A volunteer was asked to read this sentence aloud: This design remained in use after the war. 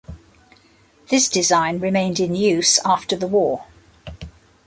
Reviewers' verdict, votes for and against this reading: accepted, 2, 0